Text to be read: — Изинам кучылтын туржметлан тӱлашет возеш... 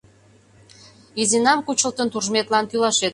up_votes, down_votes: 0, 2